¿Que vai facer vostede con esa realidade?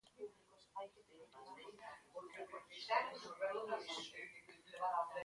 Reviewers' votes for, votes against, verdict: 0, 2, rejected